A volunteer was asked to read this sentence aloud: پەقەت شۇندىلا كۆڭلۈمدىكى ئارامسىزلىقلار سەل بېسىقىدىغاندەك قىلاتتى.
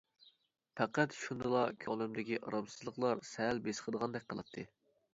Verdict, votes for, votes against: accepted, 2, 0